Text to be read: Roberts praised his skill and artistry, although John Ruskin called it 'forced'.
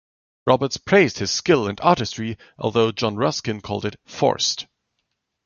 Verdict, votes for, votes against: rejected, 1, 2